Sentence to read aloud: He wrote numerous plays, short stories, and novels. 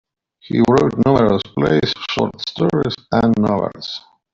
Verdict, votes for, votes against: accepted, 2, 0